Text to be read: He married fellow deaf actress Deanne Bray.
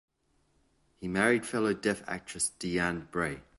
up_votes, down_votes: 2, 0